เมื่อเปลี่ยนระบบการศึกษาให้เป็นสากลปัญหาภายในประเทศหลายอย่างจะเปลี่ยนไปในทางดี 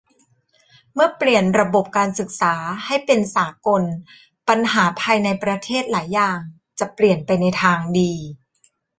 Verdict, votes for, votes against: accepted, 2, 0